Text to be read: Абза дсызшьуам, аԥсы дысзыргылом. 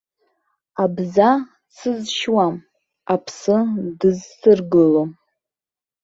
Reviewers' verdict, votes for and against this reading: rejected, 1, 2